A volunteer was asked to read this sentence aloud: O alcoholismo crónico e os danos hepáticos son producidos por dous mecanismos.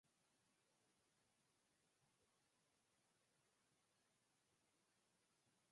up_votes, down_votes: 0, 4